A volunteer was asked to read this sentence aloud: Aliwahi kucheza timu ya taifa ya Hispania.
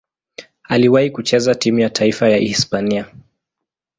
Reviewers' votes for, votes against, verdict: 2, 0, accepted